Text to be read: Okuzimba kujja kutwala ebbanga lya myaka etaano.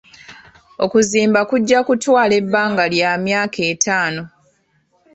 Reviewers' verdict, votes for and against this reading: accepted, 2, 0